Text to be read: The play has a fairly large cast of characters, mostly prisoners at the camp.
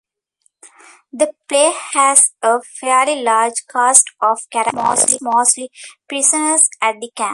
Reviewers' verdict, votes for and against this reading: rejected, 0, 2